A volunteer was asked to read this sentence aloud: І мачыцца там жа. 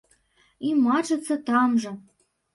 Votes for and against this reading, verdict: 1, 2, rejected